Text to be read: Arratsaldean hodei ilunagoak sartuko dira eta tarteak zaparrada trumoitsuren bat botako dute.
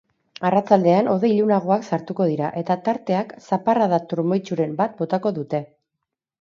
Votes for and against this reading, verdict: 2, 0, accepted